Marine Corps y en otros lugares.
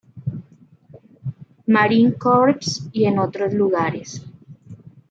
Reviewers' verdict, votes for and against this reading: accepted, 2, 1